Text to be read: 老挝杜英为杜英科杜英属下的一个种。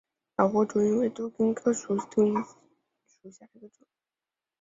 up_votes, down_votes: 0, 2